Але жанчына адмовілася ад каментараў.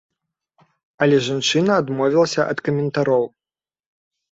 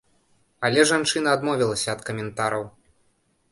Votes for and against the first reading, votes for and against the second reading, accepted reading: 0, 2, 2, 0, second